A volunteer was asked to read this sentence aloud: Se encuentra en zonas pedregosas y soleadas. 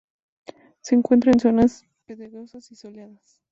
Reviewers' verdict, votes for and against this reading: accepted, 4, 0